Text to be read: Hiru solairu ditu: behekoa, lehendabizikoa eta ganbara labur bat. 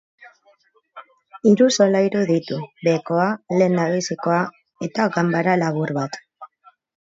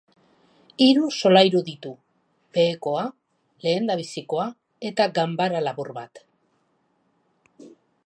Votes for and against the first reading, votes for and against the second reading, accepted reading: 0, 2, 4, 0, second